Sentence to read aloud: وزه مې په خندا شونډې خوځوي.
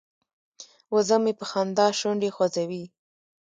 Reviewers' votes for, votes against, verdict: 1, 2, rejected